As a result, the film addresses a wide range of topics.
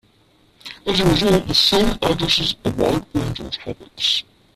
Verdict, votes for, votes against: rejected, 0, 2